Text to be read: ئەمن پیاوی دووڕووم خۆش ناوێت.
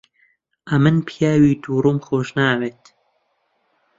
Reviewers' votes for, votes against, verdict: 2, 0, accepted